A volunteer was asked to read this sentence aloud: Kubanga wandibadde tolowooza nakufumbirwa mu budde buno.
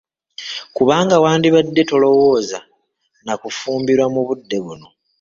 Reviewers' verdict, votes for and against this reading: accepted, 2, 1